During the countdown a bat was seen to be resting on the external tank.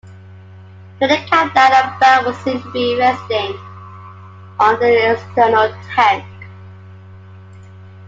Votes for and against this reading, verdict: 0, 2, rejected